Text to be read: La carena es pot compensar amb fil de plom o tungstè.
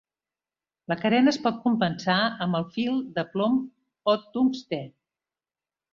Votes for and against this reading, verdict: 0, 2, rejected